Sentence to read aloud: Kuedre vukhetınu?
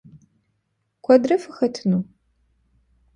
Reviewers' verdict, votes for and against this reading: rejected, 0, 2